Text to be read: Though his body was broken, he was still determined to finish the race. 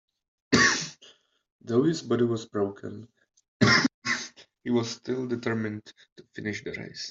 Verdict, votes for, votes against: rejected, 1, 2